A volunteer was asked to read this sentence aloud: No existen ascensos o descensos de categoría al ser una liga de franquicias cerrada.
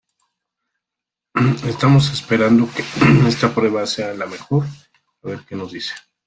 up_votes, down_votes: 0, 2